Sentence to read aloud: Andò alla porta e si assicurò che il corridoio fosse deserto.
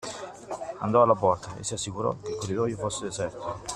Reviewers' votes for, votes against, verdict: 2, 1, accepted